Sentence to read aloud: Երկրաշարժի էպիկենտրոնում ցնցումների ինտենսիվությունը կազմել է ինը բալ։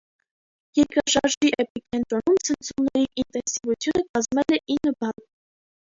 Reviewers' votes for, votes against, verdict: 1, 2, rejected